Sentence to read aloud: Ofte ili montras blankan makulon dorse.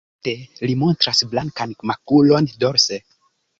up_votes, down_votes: 0, 2